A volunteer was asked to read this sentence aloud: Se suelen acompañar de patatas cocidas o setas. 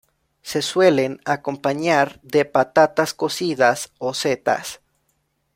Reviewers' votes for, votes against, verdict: 2, 0, accepted